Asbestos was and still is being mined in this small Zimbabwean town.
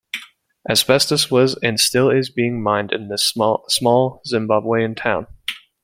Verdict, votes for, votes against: rejected, 1, 2